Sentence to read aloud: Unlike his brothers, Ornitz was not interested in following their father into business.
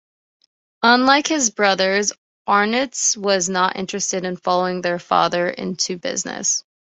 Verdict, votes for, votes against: accepted, 2, 0